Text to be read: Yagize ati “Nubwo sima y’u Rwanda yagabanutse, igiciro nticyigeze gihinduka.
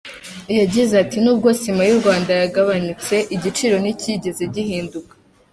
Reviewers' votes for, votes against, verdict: 2, 1, accepted